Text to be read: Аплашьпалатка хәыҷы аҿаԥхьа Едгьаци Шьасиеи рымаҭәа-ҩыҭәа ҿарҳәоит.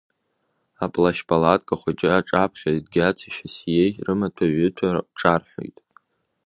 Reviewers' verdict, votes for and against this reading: accepted, 2, 1